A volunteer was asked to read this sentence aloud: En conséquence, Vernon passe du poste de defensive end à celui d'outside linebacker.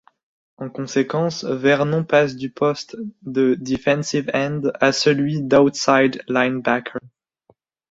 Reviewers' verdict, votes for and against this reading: accepted, 2, 0